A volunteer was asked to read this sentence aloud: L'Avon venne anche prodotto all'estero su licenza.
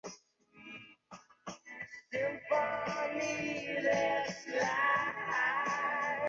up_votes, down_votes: 0, 2